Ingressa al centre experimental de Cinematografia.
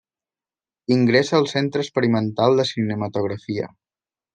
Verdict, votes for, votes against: accepted, 2, 0